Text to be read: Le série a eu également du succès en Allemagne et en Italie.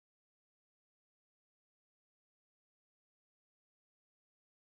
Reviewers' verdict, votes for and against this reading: rejected, 0, 4